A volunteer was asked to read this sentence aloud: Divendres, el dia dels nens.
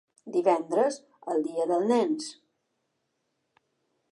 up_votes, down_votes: 1, 2